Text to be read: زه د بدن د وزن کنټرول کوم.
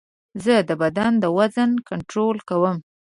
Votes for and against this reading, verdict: 2, 0, accepted